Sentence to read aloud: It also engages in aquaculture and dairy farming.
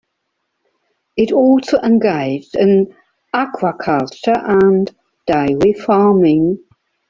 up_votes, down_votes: 0, 2